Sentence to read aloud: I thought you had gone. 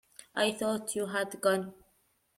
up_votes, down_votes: 2, 0